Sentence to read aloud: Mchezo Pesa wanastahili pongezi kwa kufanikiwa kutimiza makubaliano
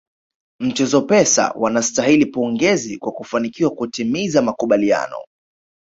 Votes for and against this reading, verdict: 1, 2, rejected